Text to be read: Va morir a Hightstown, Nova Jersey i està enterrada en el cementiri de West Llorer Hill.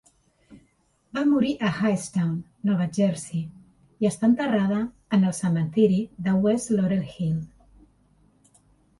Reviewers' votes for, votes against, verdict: 2, 0, accepted